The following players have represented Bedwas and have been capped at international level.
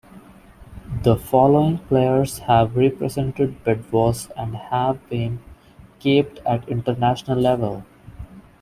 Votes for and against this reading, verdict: 0, 2, rejected